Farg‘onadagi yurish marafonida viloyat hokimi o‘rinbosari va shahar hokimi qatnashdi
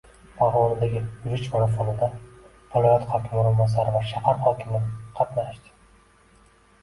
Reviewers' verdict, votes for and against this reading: rejected, 1, 2